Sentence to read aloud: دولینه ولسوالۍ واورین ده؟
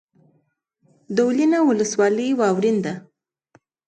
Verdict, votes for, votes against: accepted, 2, 0